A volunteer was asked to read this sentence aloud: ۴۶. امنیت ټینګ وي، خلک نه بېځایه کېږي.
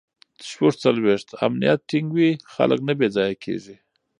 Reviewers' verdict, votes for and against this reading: rejected, 0, 2